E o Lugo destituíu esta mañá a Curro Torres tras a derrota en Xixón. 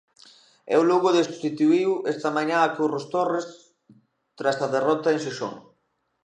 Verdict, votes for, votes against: rejected, 0, 2